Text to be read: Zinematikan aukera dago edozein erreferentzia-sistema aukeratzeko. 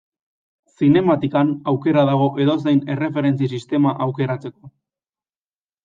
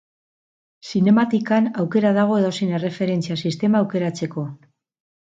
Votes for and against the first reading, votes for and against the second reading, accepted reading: 2, 0, 0, 2, first